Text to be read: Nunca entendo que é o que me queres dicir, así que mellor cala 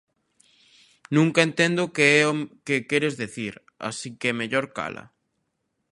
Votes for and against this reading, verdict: 0, 2, rejected